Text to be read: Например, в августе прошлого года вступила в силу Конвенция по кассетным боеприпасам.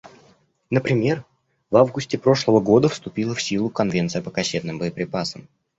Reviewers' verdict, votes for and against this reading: accepted, 2, 0